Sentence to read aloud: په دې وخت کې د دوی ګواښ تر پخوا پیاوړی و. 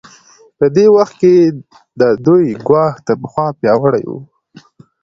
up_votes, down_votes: 2, 0